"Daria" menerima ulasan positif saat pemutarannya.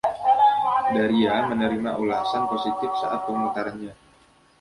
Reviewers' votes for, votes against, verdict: 0, 2, rejected